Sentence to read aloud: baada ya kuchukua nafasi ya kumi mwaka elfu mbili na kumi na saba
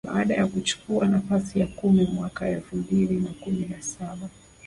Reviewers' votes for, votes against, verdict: 2, 3, rejected